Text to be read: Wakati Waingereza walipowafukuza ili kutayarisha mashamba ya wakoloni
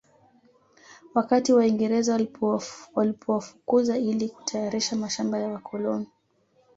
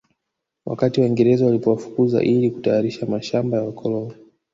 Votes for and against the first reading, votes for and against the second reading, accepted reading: 0, 2, 2, 0, second